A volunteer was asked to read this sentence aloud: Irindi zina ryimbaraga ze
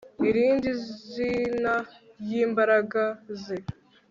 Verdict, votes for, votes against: rejected, 1, 2